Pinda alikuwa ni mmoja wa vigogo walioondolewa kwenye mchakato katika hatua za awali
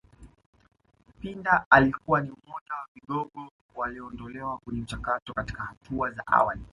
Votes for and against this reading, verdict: 2, 1, accepted